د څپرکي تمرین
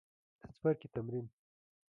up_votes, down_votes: 2, 3